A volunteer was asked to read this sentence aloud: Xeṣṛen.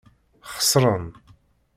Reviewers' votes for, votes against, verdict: 2, 0, accepted